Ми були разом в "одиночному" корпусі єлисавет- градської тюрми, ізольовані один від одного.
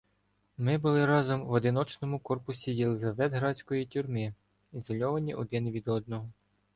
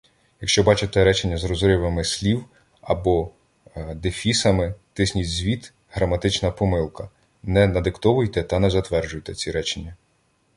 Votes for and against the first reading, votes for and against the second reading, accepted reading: 2, 0, 0, 2, first